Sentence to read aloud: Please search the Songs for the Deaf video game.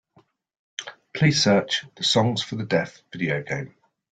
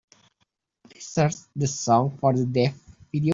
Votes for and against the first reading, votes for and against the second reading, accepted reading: 2, 0, 0, 2, first